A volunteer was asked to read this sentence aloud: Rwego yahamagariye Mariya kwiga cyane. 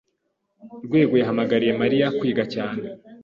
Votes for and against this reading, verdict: 2, 0, accepted